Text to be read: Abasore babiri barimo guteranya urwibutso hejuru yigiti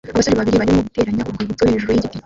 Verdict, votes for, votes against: rejected, 0, 2